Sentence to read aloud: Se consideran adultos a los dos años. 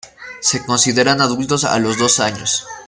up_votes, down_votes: 0, 2